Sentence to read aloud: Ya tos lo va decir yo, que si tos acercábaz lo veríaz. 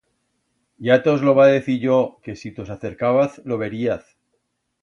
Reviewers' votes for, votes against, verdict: 2, 0, accepted